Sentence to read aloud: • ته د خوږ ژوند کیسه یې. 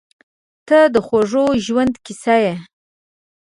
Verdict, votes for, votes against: accepted, 3, 0